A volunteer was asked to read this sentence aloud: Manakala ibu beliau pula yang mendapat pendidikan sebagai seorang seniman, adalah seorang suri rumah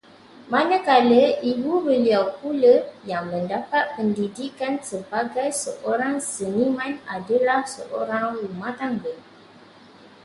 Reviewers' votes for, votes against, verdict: 0, 2, rejected